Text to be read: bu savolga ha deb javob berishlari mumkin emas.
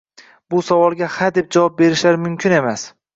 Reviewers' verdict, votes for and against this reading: rejected, 1, 2